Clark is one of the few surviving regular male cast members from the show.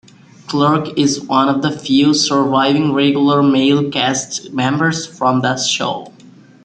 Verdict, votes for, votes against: accepted, 2, 1